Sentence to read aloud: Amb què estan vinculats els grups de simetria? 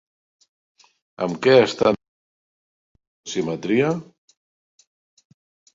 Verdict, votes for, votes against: rejected, 0, 2